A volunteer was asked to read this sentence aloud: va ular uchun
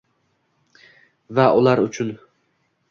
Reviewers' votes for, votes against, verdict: 1, 2, rejected